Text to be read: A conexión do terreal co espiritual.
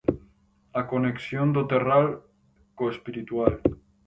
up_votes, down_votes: 0, 4